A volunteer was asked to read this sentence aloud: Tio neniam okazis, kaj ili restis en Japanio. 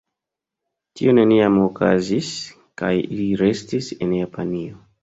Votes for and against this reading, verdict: 1, 2, rejected